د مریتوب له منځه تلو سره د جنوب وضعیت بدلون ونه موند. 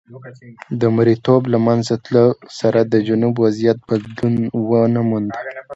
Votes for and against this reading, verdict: 2, 0, accepted